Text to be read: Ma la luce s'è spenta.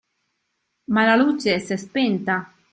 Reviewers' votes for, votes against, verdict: 2, 0, accepted